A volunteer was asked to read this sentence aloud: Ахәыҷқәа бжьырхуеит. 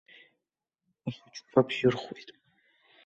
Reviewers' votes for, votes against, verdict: 1, 2, rejected